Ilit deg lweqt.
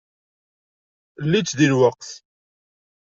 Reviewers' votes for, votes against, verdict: 1, 2, rejected